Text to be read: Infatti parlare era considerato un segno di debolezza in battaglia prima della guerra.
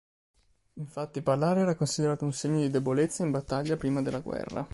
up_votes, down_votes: 3, 0